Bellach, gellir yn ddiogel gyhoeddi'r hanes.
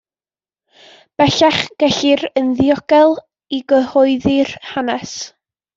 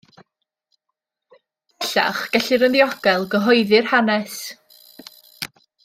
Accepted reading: first